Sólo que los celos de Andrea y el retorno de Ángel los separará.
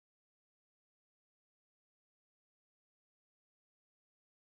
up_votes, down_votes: 0, 2